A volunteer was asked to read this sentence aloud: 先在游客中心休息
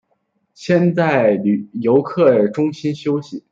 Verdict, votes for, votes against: rejected, 0, 2